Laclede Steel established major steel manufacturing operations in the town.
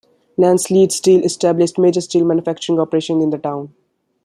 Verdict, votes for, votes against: rejected, 0, 2